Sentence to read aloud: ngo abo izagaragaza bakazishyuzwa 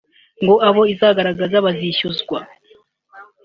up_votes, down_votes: 2, 1